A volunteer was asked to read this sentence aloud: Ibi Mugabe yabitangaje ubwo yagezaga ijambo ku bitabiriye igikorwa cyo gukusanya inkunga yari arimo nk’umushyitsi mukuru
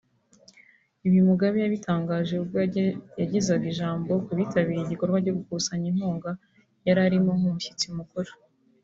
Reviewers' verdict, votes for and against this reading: rejected, 0, 2